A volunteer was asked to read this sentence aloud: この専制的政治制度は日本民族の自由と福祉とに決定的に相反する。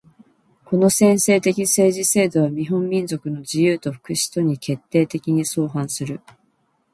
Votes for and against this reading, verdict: 1, 2, rejected